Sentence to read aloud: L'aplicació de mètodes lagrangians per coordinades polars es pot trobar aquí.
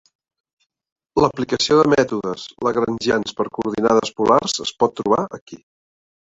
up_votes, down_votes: 3, 1